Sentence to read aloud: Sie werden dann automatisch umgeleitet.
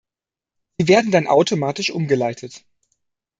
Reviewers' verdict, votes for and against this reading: rejected, 0, 2